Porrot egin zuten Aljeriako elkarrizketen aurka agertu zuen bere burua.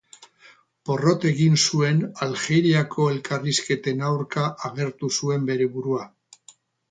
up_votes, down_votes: 0, 4